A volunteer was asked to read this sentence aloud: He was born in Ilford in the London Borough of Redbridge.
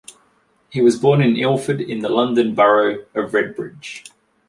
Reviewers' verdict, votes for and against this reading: accepted, 2, 0